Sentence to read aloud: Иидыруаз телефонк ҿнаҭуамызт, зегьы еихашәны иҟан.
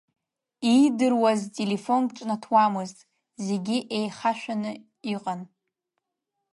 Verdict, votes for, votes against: rejected, 0, 2